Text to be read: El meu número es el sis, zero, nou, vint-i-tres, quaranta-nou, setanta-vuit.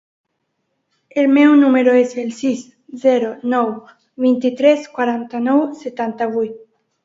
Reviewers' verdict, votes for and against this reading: accepted, 2, 0